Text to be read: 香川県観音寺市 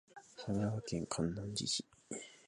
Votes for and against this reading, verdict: 2, 0, accepted